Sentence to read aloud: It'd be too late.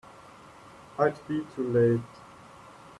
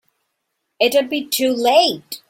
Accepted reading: second